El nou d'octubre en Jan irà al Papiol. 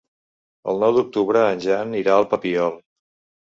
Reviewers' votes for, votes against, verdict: 4, 0, accepted